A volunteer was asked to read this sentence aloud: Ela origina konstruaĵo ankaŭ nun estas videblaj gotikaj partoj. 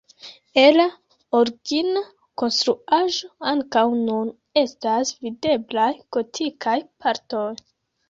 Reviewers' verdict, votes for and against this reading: rejected, 1, 2